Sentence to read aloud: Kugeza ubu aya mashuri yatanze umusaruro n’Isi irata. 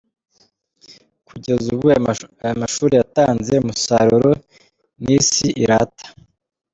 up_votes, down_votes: 1, 2